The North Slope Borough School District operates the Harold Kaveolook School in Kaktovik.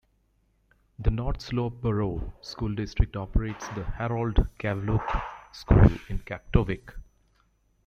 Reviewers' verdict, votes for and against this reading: accepted, 2, 0